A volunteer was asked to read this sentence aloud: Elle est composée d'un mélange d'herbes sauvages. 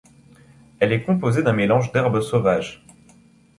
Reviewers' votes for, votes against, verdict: 2, 0, accepted